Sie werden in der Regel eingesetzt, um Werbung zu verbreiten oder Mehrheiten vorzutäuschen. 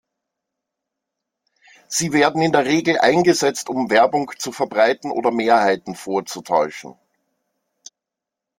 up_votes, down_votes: 2, 0